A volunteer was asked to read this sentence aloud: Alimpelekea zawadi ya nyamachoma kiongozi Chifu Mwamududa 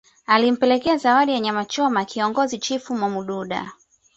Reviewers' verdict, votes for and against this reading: accepted, 2, 0